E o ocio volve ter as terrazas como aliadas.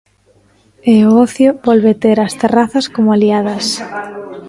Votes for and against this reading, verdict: 1, 2, rejected